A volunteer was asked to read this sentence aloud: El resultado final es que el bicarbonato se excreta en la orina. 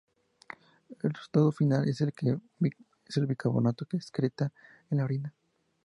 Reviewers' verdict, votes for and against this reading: rejected, 0, 2